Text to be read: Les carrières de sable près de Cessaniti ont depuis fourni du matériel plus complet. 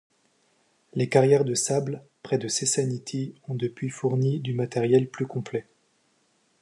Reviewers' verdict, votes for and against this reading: accepted, 2, 0